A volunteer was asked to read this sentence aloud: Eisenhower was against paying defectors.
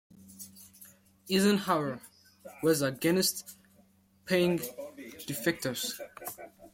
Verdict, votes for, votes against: rejected, 1, 2